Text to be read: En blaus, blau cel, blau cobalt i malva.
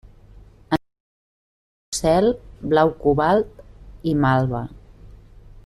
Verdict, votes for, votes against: rejected, 0, 2